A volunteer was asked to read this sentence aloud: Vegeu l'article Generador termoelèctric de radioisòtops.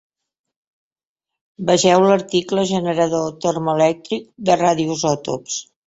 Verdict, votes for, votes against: accepted, 2, 0